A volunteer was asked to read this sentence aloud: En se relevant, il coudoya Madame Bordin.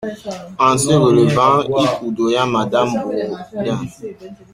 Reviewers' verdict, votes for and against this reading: rejected, 0, 2